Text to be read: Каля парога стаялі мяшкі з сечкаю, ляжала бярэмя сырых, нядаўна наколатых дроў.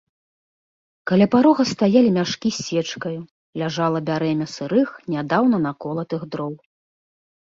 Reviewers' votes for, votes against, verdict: 3, 0, accepted